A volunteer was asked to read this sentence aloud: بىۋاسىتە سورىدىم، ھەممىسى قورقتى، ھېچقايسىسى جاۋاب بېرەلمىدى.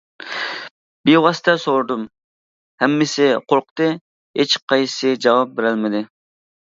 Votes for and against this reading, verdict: 2, 0, accepted